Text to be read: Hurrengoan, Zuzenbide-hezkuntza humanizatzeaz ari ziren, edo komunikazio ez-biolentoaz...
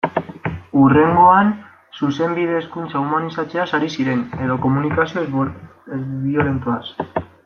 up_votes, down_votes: 1, 2